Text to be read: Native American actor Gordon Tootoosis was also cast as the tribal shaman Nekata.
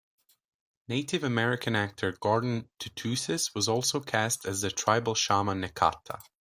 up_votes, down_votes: 2, 0